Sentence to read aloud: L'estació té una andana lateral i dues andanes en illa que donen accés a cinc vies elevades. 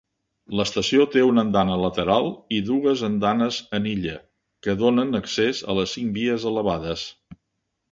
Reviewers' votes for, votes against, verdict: 0, 2, rejected